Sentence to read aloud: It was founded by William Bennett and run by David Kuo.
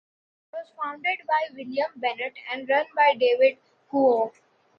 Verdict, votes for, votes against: rejected, 1, 2